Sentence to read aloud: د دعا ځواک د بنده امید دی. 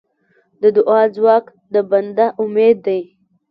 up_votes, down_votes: 1, 2